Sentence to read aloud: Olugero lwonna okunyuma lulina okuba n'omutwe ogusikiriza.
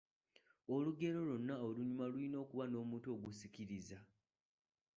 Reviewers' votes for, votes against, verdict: 0, 2, rejected